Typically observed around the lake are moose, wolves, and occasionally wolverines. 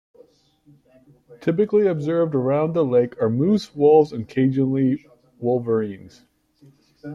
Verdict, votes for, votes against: accepted, 2, 0